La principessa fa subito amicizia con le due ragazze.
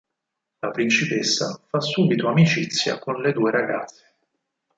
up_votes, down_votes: 2, 4